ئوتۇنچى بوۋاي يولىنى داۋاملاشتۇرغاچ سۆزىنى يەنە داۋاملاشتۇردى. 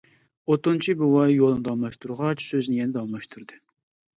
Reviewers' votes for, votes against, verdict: 1, 2, rejected